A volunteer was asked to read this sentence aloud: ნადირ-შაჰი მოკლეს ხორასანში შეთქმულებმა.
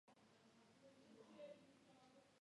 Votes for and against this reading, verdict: 0, 2, rejected